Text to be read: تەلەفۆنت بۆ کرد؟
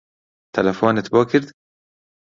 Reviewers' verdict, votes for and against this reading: accepted, 2, 0